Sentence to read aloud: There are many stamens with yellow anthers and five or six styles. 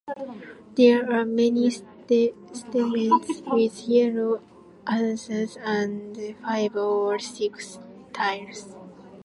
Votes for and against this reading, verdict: 2, 1, accepted